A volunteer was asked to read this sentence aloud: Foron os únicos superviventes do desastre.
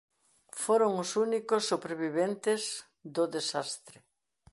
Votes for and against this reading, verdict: 2, 0, accepted